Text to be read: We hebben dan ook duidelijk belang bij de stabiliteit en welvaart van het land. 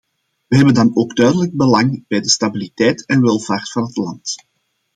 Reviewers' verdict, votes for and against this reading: accepted, 2, 0